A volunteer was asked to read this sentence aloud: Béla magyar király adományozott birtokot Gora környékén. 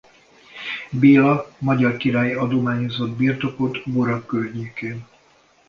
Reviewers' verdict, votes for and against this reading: rejected, 1, 2